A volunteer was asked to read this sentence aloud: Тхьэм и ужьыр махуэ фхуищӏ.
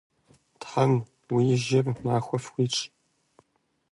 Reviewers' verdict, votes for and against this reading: rejected, 0, 2